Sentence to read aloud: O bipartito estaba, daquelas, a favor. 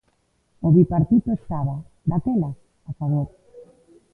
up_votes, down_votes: 0, 2